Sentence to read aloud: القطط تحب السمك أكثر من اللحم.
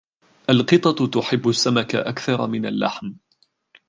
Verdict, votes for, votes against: accepted, 2, 1